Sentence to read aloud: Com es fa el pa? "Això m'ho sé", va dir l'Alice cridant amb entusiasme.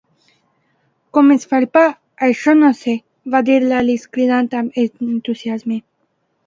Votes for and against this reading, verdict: 0, 2, rejected